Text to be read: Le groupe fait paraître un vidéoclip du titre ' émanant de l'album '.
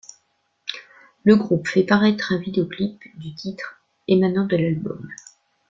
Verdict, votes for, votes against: accepted, 2, 0